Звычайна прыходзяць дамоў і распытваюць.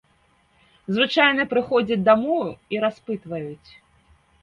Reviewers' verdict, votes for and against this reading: accepted, 3, 0